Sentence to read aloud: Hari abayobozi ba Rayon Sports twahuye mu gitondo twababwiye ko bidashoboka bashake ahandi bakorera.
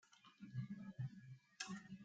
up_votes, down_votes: 0, 3